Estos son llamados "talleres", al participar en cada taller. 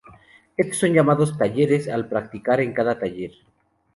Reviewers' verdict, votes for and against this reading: rejected, 2, 2